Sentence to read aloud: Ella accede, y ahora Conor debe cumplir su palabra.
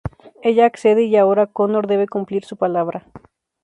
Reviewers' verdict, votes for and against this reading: accepted, 2, 0